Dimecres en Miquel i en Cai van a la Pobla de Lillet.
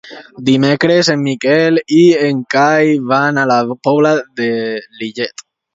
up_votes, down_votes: 2, 0